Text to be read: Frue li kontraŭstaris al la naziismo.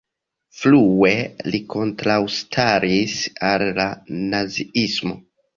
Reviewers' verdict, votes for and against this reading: accepted, 2, 1